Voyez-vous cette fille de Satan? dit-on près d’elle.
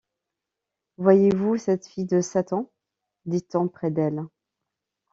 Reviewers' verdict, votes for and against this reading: accepted, 2, 0